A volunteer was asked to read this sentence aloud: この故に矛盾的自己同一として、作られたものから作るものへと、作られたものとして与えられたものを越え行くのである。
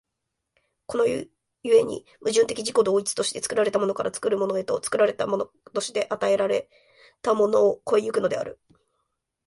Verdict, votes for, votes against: accepted, 2, 1